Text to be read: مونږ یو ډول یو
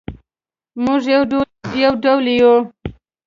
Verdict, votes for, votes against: accepted, 2, 0